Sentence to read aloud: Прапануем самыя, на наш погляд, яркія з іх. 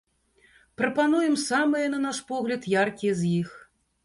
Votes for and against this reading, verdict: 2, 0, accepted